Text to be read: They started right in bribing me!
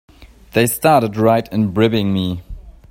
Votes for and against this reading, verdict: 0, 2, rejected